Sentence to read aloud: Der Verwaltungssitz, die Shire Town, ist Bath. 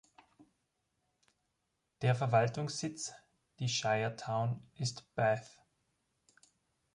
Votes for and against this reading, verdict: 3, 0, accepted